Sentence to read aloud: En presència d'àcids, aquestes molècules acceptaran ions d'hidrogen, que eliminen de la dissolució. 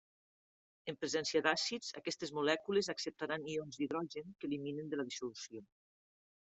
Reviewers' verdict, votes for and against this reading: accepted, 3, 1